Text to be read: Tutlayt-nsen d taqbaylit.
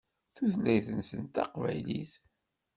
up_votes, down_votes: 2, 0